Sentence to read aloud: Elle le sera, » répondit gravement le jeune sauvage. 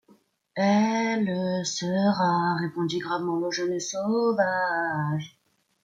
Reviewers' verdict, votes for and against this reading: accepted, 2, 0